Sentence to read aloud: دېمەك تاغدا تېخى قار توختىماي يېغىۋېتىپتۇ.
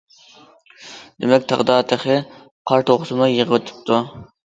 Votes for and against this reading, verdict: 1, 2, rejected